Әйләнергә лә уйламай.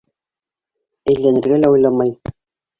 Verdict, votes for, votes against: accepted, 2, 1